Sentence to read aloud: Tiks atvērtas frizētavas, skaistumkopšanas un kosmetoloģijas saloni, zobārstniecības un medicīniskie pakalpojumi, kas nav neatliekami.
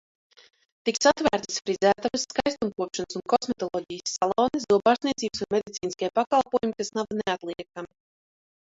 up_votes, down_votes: 1, 2